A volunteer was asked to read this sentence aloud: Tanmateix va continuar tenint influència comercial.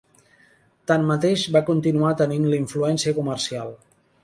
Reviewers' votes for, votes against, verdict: 0, 3, rejected